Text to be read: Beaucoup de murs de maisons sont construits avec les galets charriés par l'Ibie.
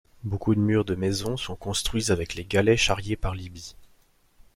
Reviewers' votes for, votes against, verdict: 2, 0, accepted